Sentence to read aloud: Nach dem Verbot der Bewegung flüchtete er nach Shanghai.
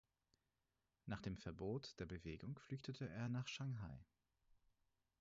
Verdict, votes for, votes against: rejected, 0, 4